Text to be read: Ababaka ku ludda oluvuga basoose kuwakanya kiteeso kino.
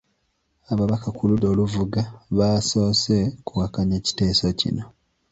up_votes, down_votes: 1, 2